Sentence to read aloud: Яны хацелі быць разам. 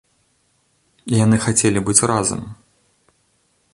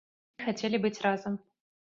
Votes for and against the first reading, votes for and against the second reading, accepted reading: 2, 0, 1, 2, first